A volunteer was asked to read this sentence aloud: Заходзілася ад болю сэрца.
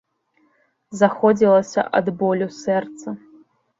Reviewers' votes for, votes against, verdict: 2, 0, accepted